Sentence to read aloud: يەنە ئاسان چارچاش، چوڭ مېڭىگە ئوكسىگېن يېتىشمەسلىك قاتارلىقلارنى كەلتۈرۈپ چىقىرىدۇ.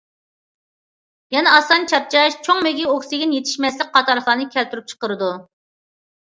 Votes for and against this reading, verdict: 0, 2, rejected